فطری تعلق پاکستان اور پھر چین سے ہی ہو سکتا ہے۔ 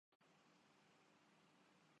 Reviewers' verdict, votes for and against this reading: rejected, 0, 2